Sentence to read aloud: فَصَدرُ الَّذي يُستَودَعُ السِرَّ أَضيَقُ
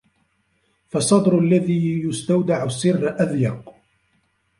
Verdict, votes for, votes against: rejected, 1, 2